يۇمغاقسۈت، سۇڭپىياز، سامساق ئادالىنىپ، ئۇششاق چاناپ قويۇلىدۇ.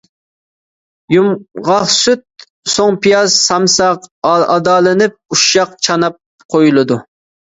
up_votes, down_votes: 1, 2